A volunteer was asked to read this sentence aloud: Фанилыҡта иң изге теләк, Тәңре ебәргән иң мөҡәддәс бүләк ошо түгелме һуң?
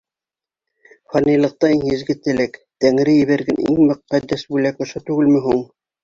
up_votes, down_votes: 3, 0